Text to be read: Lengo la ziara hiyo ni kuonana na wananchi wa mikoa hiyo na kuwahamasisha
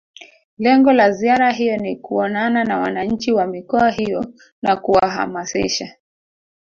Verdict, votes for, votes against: rejected, 1, 2